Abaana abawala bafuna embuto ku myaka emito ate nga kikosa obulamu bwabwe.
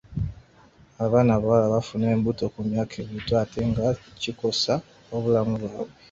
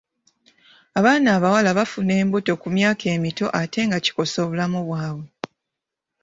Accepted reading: second